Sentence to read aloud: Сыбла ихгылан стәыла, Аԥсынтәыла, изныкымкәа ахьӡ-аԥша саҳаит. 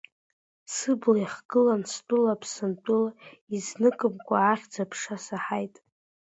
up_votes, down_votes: 2, 1